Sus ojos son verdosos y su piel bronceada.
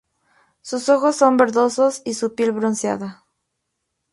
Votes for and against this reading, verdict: 2, 0, accepted